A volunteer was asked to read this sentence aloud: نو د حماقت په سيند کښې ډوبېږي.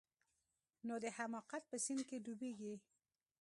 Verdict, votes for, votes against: rejected, 0, 2